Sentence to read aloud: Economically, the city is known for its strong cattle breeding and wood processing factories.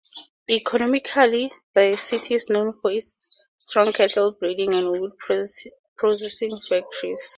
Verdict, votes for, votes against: rejected, 2, 4